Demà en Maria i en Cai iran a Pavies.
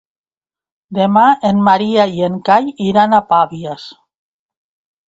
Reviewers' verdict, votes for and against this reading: accepted, 2, 0